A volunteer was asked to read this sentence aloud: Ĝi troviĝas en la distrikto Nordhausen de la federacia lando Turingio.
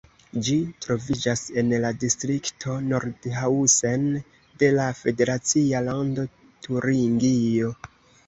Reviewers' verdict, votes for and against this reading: accepted, 3, 0